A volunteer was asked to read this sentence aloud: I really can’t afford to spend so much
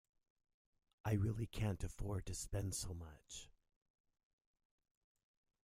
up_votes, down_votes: 2, 0